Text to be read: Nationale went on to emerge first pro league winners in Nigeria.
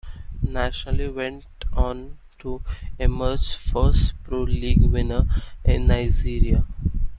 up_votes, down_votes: 0, 2